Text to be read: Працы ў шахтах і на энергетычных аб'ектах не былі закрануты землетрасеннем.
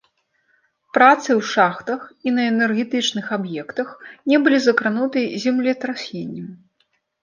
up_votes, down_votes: 0, 2